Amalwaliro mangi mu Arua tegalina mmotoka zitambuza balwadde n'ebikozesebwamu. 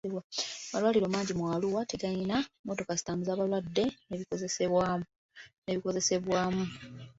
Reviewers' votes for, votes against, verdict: 0, 2, rejected